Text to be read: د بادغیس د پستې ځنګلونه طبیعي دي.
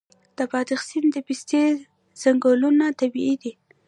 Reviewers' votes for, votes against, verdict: 0, 2, rejected